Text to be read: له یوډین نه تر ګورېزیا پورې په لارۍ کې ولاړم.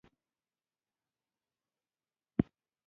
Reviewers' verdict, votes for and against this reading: rejected, 0, 2